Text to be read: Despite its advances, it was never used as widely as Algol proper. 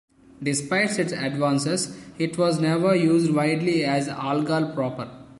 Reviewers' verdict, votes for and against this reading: rejected, 1, 2